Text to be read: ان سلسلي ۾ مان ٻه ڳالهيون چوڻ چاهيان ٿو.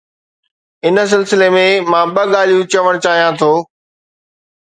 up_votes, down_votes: 2, 0